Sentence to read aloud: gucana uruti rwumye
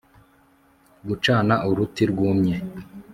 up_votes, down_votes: 2, 0